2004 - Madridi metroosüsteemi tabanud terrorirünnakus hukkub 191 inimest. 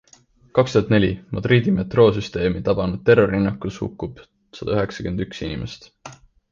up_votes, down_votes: 0, 2